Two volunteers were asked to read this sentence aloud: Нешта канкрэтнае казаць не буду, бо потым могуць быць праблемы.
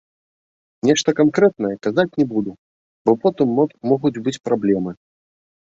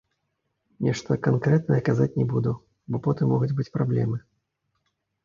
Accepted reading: first